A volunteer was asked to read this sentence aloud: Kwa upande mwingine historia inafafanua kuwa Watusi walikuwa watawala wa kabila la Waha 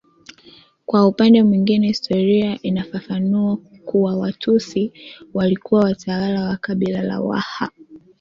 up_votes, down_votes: 2, 1